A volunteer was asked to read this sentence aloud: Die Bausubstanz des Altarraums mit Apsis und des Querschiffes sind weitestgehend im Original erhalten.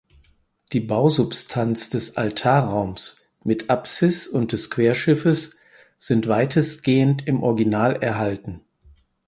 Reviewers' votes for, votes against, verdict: 4, 0, accepted